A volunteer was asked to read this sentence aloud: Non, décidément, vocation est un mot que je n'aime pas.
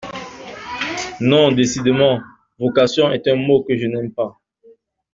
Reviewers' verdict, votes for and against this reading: accepted, 2, 1